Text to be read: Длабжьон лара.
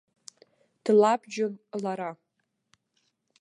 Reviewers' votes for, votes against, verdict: 3, 0, accepted